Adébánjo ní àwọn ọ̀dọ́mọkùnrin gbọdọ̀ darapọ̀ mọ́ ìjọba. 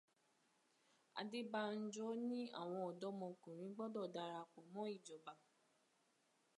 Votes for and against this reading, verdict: 2, 0, accepted